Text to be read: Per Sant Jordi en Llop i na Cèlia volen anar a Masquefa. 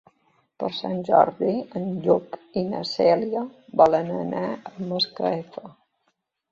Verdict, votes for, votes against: rejected, 1, 2